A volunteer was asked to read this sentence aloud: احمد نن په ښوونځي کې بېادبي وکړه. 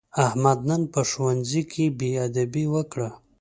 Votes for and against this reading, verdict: 2, 0, accepted